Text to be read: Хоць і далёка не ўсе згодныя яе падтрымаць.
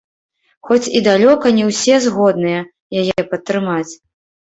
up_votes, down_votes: 1, 2